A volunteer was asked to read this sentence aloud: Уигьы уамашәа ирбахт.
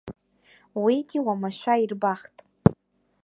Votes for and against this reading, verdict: 1, 2, rejected